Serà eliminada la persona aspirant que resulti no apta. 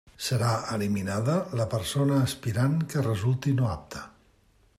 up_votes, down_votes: 2, 0